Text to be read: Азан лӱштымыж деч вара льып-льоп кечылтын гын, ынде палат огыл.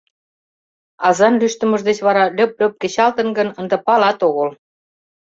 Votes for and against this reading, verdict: 2, 0, accepted